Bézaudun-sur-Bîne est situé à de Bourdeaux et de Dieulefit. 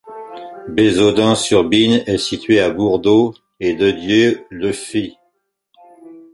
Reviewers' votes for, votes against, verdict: 1, 2, rejected